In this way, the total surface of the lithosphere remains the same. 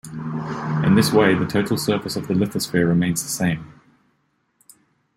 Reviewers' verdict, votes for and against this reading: accepted, 2, 0